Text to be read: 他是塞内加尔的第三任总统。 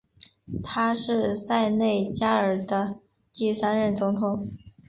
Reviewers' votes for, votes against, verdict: 2, 0, accepted